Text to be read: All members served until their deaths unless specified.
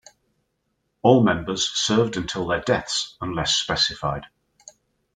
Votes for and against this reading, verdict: 2, 0, accepted